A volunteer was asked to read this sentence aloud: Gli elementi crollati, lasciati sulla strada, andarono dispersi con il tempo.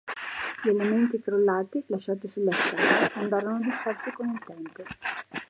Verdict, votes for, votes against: rejected, 1, 2